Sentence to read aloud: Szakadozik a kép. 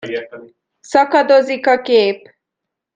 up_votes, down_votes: 0, 2